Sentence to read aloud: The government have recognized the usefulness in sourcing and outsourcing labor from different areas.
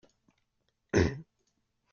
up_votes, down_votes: 0, 4